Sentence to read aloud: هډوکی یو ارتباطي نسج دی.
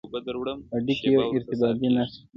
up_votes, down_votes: 1, 2